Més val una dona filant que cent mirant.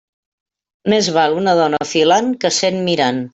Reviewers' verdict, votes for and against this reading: accepted, 2, 1